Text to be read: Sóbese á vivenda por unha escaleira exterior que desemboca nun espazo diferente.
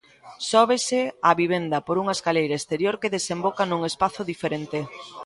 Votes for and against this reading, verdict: 1, 2, rejected